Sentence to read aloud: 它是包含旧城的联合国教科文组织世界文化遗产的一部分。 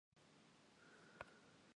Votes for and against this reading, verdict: 0, 2, rejected